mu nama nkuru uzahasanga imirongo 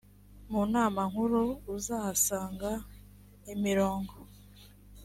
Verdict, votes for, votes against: accepted, 2, 0